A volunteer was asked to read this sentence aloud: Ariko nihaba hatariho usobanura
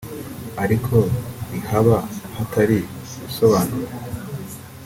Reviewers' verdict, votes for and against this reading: rejected, 0, 2